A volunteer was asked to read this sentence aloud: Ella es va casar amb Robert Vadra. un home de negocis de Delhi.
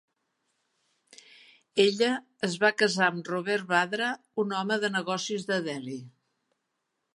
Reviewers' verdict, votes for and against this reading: accepted, 2, 0